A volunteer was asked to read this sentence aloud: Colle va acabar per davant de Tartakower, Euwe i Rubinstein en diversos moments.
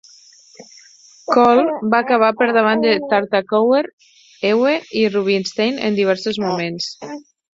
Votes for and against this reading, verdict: 2, 4, rejected